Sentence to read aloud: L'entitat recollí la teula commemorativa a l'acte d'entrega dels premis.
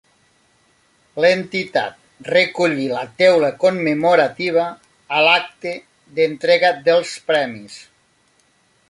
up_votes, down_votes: 3, 0